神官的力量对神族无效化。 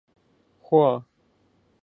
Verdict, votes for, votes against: rejected, 0, 2